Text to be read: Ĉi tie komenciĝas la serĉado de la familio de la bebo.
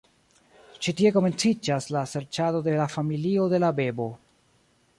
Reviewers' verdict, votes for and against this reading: rejected, 1, 2